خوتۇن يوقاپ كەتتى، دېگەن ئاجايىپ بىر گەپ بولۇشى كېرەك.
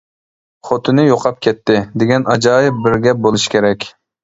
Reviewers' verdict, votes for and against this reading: rejected, 1, 2